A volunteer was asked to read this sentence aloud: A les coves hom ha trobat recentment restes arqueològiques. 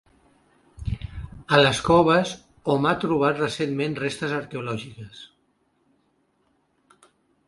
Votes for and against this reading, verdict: 2, 0, accepted